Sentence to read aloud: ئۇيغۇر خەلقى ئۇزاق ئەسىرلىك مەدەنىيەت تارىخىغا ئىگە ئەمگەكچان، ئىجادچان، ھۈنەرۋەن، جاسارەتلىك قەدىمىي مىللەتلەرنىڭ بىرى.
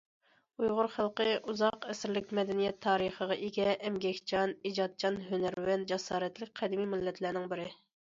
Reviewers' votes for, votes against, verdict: 2, 0, accepted